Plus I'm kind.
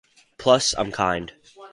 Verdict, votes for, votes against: accepted, 4, 0